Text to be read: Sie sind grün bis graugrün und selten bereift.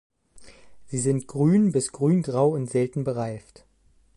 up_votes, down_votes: 0, 2